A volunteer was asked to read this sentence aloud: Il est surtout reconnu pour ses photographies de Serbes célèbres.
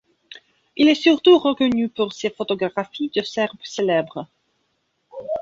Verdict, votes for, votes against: rejected, 1, 2